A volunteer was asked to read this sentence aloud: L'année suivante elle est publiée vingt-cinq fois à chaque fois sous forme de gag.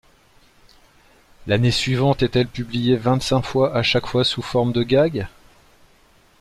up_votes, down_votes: 1, 2